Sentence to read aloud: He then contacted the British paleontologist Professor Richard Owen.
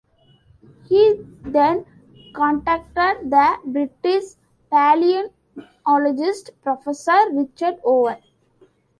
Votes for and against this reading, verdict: 0, 2, rejected